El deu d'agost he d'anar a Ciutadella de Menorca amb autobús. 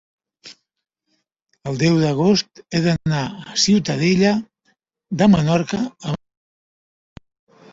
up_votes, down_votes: 0, 2